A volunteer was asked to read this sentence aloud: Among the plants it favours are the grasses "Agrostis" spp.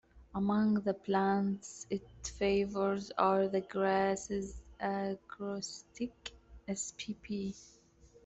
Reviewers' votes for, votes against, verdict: 0, 2, rejected